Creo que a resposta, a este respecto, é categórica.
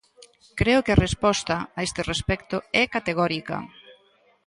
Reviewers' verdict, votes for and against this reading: accepted, 2, 0